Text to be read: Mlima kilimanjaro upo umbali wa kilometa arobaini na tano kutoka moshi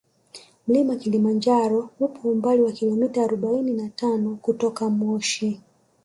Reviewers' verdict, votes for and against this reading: accepted, 4, 0